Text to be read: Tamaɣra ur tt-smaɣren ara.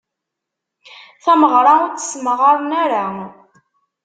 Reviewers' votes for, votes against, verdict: 1, 2, rejected